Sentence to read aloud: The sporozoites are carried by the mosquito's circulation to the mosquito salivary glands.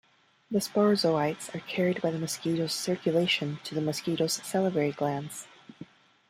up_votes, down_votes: 2, 0